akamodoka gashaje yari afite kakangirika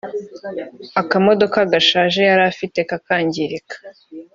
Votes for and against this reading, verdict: 3, 0, accepted